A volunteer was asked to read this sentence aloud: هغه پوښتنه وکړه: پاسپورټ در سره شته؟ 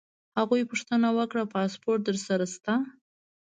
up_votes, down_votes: 2, 0